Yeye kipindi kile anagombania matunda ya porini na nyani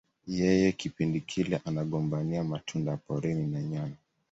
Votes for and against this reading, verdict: 2, 0, accepted